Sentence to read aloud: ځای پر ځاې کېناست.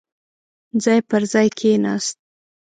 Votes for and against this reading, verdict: 2, 1, accepted